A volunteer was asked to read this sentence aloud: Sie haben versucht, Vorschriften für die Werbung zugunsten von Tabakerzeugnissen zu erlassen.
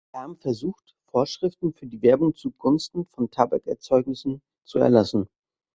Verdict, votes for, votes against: rejected, 1, 2